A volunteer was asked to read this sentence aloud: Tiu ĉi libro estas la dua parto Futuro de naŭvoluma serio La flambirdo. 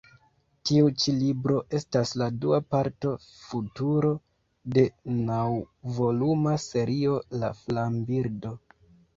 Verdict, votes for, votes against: accepted, 2, 1